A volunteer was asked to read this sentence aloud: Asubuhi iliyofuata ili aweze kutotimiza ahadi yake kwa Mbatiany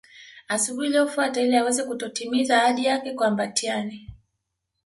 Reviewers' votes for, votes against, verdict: 2, 0, accepted